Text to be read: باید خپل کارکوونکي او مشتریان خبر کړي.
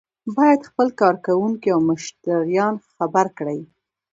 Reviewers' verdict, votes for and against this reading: rejected, 1, 2